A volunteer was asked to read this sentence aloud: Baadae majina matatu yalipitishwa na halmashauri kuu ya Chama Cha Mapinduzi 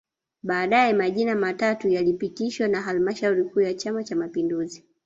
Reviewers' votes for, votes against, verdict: 2, 0, accepted